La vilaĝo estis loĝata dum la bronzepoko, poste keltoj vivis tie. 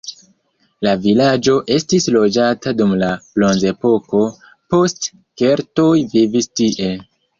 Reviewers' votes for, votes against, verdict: 0, 2, rejected